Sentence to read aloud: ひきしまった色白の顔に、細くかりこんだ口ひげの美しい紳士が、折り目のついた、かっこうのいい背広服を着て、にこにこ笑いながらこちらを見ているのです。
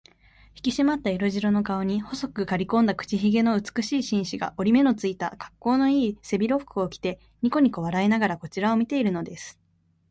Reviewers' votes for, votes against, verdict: 2, 0, accepted